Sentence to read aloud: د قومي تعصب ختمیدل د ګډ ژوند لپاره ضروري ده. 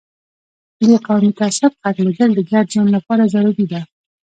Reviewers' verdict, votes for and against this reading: rejected, 0, 2